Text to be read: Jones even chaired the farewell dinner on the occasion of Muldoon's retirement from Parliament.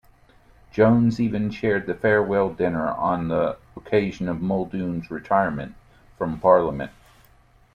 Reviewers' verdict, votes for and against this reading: accepted, 2, 0